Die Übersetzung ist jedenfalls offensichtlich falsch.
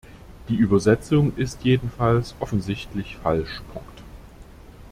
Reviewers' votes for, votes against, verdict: 1, 2, rejected